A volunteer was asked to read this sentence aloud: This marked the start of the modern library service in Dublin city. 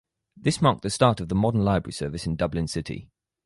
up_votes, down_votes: 4, 0